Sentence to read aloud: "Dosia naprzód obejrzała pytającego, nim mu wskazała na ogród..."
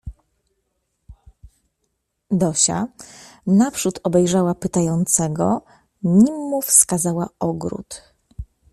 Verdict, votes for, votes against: rejected, 0, 2